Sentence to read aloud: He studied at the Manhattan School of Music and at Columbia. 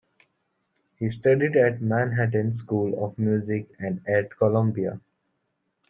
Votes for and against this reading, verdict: 0, 2, rejected